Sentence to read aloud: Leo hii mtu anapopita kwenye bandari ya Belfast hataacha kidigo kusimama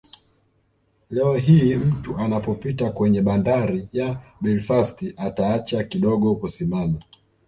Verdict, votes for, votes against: accepted, 2, 0